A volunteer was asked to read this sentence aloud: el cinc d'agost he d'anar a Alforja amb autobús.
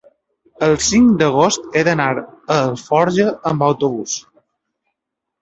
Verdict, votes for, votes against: accepted, 3, 0